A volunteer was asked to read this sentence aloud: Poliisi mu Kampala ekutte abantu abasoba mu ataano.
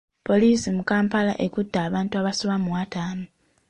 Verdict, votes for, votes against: accepted, 2, 0